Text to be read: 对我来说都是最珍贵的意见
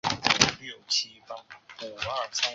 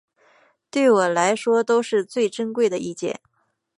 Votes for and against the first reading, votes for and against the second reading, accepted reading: 1, 3, 3, 0, second